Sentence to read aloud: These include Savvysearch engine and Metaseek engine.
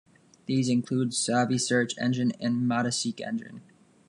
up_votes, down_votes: 1, 2